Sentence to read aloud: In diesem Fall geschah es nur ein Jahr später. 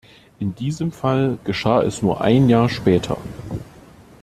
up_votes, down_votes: 2, 0